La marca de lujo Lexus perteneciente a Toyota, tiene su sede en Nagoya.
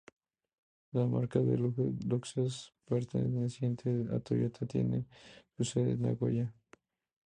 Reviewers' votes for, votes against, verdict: 2, 0, accepted